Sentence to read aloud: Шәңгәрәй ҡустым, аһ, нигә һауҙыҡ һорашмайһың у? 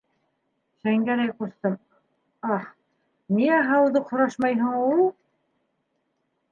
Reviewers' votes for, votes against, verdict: 0, 2, rejected